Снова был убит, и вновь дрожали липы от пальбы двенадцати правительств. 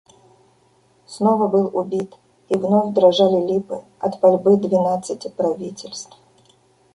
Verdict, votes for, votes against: accepted, 2, 1